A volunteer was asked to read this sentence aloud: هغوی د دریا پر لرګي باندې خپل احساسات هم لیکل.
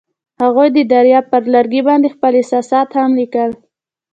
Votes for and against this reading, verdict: 2, 0, accepted